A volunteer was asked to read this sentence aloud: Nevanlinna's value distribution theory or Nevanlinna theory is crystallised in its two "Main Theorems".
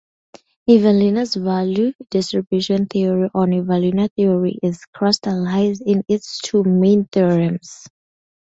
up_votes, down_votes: 0, 2